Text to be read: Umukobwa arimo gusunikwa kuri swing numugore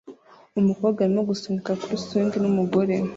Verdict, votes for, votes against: rejected, 0, 2